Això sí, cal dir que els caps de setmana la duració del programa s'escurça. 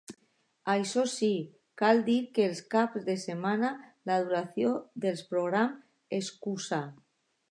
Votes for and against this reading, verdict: 0, 2, rejected